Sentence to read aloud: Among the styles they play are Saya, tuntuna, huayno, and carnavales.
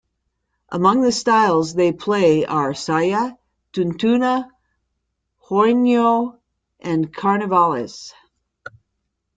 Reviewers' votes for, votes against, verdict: 2, 0, accepted